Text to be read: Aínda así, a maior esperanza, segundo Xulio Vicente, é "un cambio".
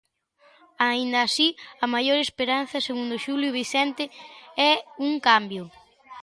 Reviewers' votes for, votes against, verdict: 3, 0, accepted